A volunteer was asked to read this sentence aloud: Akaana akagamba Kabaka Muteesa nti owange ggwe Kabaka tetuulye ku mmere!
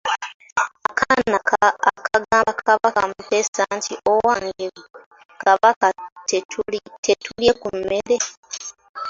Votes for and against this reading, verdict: 2, 0, accepted